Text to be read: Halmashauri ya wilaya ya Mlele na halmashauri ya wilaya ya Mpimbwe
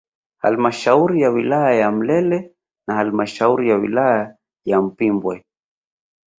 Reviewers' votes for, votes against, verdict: 2, 0, accepted